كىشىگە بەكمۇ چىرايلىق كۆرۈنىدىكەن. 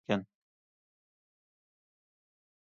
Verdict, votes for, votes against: rejected, 0, 2